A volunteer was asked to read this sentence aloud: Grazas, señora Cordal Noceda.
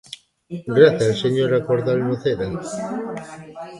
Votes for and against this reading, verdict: 1, 2, rejected